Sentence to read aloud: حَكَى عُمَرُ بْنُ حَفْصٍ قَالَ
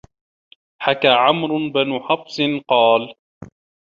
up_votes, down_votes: 0, 2